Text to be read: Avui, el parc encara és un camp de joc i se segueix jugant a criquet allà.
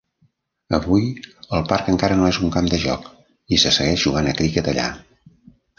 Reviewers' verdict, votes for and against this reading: rejected, 0, 2